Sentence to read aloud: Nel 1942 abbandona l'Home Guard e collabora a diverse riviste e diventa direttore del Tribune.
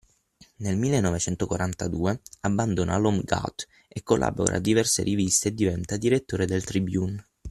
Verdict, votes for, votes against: rejected, 0, 2